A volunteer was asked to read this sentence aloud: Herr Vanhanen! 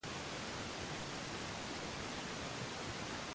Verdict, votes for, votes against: rejected, 0, 2